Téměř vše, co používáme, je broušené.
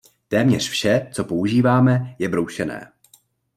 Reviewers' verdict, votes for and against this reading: accepted, 2, 0